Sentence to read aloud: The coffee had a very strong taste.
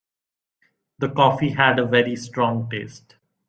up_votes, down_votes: 2, 0